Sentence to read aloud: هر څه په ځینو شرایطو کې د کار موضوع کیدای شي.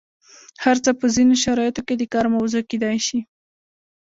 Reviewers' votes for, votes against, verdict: 1, 2, rejected